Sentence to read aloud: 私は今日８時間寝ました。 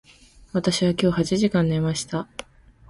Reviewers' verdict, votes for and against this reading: rejected, 0, 2